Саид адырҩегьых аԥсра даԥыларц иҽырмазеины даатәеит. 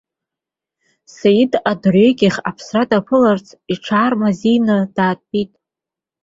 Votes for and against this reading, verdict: 0, 2, rejected